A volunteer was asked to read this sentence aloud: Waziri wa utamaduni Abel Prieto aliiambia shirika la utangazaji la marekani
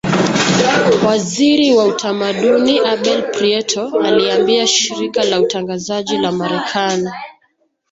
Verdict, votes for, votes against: accepted, 2, 0